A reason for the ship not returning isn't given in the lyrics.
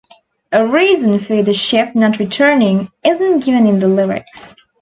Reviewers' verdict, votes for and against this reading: accepted, 2, 0